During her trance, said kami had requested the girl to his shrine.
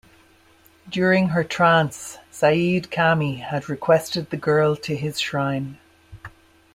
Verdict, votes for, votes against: accepted, 2, 0